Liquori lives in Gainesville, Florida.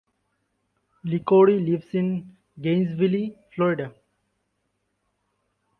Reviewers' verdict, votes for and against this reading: rejected, 0, 2